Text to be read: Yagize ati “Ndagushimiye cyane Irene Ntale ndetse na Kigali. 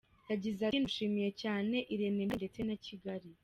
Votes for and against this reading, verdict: 1, 2, rejected